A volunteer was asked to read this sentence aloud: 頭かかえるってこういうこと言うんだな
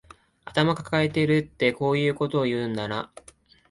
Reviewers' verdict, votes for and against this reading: rejected, 1, 2